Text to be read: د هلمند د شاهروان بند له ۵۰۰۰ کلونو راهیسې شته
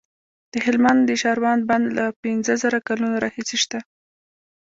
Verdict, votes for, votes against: rejected, 0, 2